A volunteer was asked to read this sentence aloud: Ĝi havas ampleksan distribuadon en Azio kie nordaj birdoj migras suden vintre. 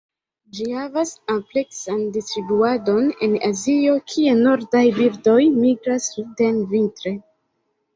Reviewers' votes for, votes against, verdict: 1, 2, rejected